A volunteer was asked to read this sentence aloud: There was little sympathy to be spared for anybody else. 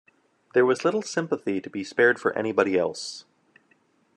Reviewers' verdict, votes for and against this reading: accepted, 2, 0